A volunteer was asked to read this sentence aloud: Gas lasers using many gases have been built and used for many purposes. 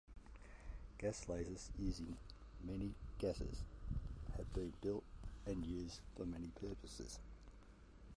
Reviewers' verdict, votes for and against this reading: rejected, 0, 2